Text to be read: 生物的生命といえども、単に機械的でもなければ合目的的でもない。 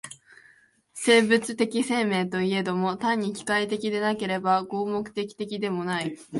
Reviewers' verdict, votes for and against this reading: rejected, 0, 2